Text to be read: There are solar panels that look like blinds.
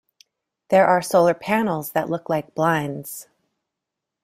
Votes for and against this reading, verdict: 2, 0, accepted